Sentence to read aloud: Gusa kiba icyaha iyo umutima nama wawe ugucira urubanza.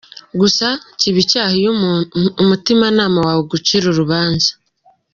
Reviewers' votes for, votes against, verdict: 1, 2, rejected